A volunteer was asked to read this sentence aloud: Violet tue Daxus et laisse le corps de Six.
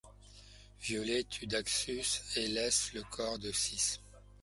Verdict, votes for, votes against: accepted, 2, 0